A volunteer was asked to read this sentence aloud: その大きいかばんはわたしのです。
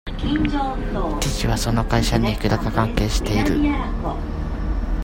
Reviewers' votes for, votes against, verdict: 0, 2, rejected